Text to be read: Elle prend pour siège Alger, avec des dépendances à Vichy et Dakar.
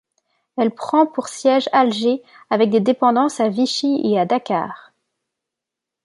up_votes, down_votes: 0, 2